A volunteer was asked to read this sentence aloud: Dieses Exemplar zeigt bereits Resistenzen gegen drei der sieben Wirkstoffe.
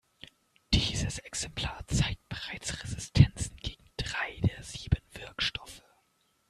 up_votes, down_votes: 2, 0